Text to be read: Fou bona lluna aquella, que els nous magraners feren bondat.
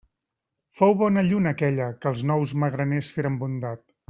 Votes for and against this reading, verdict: 3, 0, accepted